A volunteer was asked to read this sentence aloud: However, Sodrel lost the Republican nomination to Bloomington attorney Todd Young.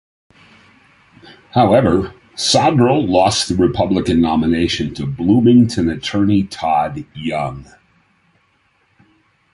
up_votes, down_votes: 2, 0